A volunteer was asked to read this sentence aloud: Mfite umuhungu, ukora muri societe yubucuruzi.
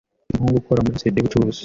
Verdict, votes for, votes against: rejected, 0, 2